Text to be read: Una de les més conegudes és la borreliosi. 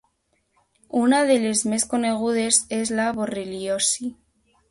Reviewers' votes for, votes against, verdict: 2, 0, accepted